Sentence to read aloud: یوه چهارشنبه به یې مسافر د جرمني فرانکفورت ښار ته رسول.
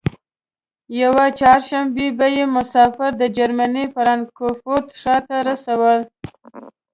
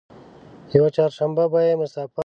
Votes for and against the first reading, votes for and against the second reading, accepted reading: 2, 0, 1, 2, first